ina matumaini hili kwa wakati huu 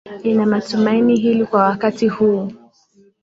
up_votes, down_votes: 1, 2